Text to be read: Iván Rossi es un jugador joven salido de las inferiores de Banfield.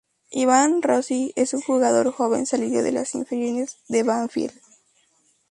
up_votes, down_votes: 2, 2